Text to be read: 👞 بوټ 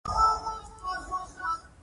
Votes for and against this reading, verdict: 2, 1, accepted